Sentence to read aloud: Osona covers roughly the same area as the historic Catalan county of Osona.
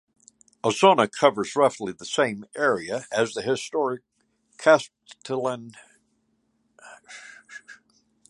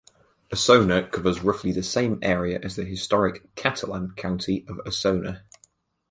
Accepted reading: second